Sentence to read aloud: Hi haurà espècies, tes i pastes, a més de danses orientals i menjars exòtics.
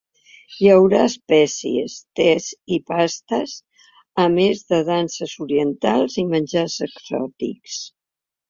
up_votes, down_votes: 3, 0